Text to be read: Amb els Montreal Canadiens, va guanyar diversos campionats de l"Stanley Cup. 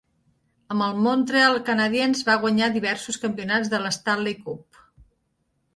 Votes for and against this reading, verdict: 2, 0, accepted